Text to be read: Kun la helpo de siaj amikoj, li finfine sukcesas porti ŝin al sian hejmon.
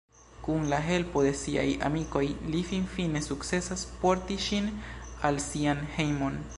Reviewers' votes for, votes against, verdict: 2, 0, accepted